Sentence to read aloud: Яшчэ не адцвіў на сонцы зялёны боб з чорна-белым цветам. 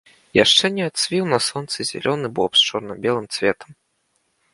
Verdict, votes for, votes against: accepted, 2, 0